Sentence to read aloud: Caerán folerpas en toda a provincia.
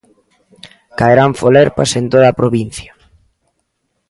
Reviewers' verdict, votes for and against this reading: accepted, 2, 0